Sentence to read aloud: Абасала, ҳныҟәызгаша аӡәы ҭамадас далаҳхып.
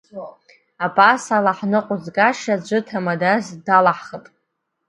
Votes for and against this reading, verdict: 2, 0, accepted